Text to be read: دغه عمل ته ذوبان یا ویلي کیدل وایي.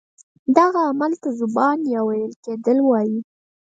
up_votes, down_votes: 2, 4